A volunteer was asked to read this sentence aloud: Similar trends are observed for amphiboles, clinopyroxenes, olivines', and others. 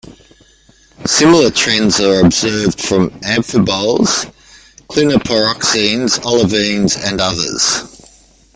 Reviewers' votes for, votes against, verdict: 0, 2, rejected